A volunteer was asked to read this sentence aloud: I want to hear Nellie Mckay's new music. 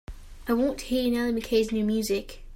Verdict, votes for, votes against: accepted, 2, 1